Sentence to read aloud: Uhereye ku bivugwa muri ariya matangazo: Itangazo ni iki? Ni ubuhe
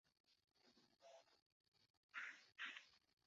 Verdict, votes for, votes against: rejected, 0, 2